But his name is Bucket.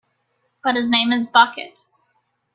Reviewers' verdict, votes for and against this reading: accepted, 2, 0